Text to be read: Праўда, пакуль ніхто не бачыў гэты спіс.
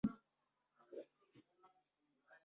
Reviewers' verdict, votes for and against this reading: rejected, 0, 2